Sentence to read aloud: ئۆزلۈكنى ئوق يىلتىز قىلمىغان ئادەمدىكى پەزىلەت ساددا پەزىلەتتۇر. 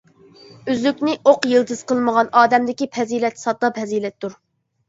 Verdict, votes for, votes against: rejected, 0, 2